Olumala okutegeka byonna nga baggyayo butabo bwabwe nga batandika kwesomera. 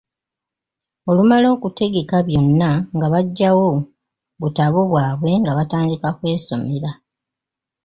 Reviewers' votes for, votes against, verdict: 0, 2, rejected